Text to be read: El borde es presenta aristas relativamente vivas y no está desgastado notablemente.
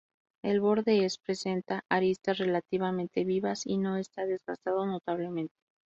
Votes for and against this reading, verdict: 2, 0, accepted